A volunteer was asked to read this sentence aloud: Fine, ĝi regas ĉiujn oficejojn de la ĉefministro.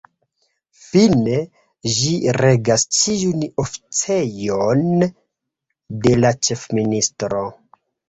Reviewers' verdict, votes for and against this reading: rejected, 0, 2